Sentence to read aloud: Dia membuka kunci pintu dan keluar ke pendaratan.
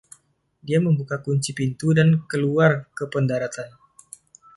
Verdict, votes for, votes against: accepted, 2, 0